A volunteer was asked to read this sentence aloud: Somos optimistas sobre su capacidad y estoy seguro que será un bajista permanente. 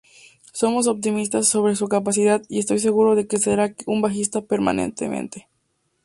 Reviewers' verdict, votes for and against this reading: rejected, 0, 4